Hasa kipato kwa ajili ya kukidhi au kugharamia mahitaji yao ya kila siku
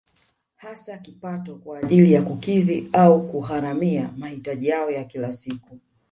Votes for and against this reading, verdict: 2, 3, rejected